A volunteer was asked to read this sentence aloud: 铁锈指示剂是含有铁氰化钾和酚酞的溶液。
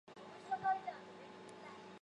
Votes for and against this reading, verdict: 0, 2, rejected